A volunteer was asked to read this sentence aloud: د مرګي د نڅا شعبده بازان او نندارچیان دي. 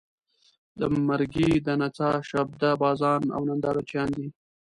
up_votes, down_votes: 1, 2